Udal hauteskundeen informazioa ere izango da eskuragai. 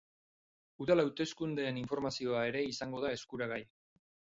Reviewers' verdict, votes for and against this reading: accepted, 4, 0